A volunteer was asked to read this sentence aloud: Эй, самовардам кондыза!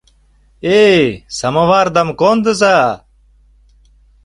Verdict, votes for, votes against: accepted, 2, 0